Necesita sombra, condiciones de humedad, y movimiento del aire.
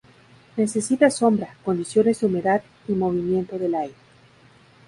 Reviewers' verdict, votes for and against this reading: accepted, 2, 0